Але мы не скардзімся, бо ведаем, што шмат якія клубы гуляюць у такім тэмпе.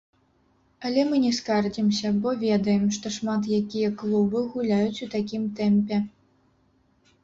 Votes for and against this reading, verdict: 0, 2, rejected